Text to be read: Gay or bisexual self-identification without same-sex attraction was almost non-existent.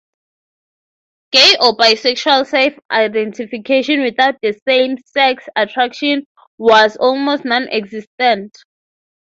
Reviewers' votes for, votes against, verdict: 6, 0, accepted